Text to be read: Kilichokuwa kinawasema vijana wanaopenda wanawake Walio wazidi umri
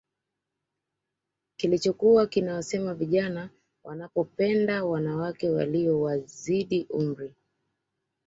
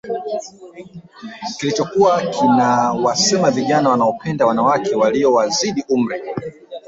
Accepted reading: first